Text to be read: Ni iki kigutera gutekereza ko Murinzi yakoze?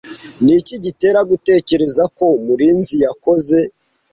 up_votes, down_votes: 1, 2